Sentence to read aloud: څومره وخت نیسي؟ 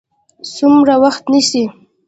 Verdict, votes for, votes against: rejected, 1, 2